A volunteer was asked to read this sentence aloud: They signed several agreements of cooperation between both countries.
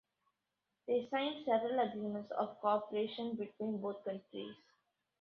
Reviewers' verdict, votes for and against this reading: accepted, 2, 0